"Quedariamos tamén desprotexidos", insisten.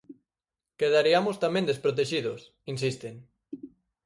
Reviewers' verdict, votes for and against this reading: accepted, 4, 2